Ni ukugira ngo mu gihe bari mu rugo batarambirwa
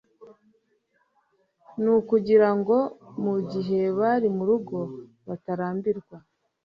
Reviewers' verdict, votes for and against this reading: accepted, 2, 0